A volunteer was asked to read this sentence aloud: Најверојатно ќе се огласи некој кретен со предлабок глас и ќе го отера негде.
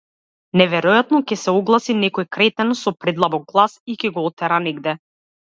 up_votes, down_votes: 1, 2